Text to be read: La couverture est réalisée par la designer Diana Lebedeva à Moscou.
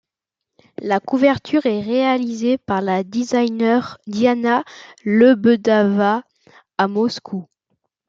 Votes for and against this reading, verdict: 1, 2, rejected